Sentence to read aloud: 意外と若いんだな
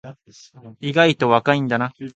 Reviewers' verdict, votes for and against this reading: accepted, 3, 0